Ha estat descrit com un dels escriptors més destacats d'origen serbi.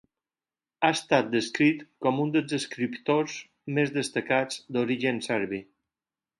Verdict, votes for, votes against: accepted, 4, 0